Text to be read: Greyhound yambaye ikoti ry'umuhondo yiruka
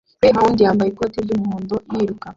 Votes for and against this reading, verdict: 1, 2, rejected